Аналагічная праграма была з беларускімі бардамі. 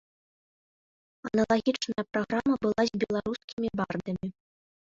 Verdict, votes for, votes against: rejected, 0, 2